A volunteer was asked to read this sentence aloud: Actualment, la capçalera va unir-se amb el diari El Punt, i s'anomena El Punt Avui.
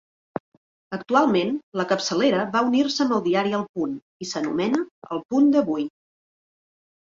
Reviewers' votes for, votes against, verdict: 0, 2, rejected